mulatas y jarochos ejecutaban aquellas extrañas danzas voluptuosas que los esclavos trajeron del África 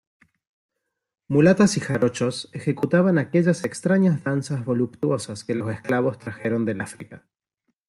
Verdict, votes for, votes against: accepted, 2, 0